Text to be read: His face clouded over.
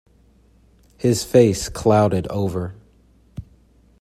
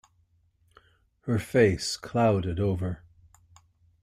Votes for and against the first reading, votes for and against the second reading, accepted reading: 2, 0, 1, 2, first